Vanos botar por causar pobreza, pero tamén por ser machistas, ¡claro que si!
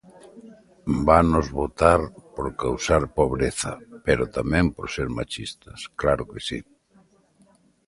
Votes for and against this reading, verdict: 2, 0, accepted